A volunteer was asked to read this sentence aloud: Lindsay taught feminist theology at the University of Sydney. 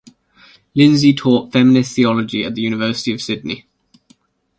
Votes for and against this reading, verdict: 2, 0, accepted